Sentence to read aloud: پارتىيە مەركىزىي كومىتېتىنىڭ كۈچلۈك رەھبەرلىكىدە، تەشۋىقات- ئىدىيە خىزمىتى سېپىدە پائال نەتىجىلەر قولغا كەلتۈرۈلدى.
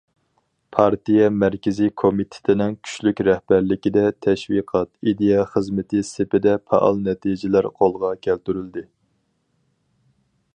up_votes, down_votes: 4, 0